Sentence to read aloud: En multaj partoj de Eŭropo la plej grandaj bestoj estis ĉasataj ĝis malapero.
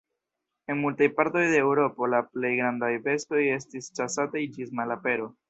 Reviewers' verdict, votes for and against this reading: rejected, 1, 2